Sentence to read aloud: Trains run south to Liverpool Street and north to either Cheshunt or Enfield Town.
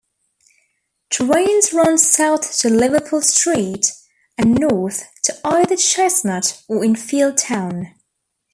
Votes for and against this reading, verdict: 2, 1, accepted